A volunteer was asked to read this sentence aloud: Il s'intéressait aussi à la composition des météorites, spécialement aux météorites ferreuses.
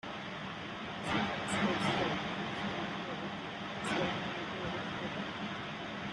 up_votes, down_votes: 0, 2